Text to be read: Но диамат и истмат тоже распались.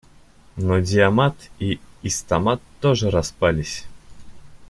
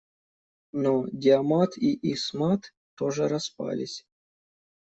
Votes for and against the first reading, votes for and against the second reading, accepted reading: 0, 2, 2, 0, second